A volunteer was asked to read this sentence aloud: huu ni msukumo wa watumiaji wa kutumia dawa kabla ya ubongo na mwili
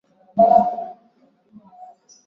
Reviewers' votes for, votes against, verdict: 0, 2, rejected